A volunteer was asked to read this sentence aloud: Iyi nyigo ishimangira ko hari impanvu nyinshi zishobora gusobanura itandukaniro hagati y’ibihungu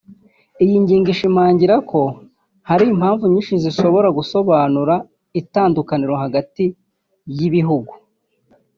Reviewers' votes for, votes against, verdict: 1, 2, rejected